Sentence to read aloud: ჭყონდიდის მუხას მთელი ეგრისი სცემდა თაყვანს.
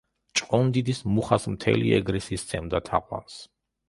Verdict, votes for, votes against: accepted, 2, 0